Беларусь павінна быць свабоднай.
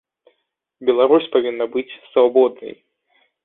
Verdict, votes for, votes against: accepted, 3, 0